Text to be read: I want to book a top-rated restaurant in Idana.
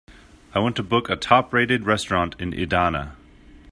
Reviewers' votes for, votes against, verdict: 2, 0, accepted